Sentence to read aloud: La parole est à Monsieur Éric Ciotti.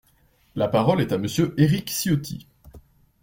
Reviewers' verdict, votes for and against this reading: accepted, 2, 0